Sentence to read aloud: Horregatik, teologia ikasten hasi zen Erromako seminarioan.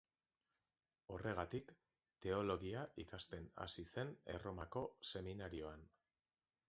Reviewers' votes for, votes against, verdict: 2, 0, accepted